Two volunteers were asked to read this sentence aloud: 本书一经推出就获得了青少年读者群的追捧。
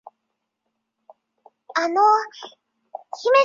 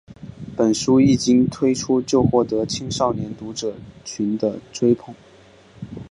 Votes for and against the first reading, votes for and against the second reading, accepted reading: 0, 2, 2, 0, second